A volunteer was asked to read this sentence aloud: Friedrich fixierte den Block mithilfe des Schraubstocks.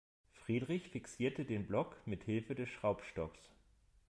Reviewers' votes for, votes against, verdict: 2, 0, accepted